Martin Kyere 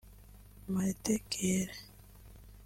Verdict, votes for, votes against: rejected, 2, 3